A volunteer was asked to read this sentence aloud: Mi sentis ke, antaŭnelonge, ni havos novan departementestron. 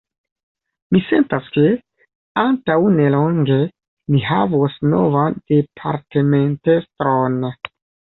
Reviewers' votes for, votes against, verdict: 0, 2, rejected